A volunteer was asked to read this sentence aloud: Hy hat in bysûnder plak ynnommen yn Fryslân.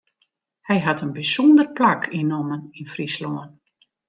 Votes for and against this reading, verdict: 2, 0, accepted